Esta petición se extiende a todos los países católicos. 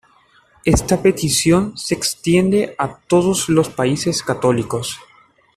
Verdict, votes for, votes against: accepted, 2, 0